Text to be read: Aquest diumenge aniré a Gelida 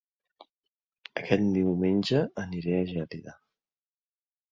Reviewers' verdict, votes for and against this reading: accepted, 2, 0